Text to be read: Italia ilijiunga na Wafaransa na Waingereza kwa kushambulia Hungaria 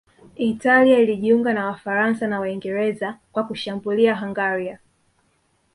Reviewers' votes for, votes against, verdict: 4, 0, accepted